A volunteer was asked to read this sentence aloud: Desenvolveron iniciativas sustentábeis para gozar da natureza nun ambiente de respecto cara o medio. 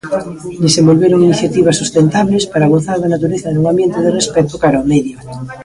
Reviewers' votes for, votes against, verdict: 1, 2, rejected